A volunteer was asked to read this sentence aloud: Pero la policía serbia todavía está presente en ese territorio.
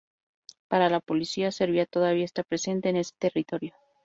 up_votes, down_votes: 0, 2